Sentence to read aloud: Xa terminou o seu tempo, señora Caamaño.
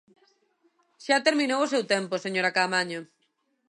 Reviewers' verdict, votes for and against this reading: accepted, 2, 0